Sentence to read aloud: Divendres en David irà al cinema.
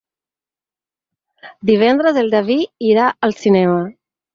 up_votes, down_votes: 6, 2